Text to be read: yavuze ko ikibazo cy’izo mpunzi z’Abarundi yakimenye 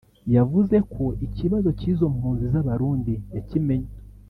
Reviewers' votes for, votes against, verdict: 2, 0, accepted